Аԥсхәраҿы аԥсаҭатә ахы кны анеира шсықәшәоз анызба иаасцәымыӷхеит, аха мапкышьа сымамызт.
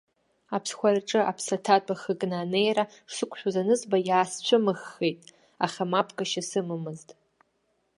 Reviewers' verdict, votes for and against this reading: rejected, 0, 2